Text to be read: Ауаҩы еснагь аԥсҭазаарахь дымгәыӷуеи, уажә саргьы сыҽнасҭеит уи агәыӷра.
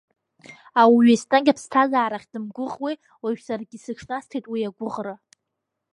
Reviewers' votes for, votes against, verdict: 2, 0, accepted